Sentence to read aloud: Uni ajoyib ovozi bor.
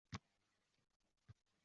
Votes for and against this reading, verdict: 0, 2, rejected